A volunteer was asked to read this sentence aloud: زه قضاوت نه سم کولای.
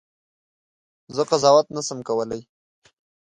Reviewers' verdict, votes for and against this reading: accepted, 2, 0